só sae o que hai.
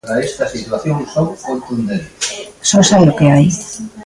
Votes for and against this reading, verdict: 0, 2, rejected